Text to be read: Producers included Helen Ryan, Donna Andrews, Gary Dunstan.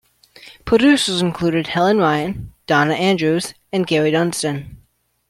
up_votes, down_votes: 1, 2